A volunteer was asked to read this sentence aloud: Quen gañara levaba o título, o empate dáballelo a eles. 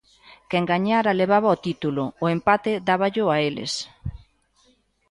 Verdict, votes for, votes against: rejected, 0, 2